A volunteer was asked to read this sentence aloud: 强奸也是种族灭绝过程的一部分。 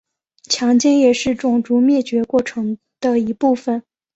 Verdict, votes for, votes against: accepted, 2, 0